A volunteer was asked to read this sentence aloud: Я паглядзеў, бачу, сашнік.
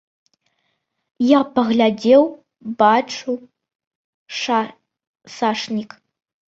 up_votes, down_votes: 0, 2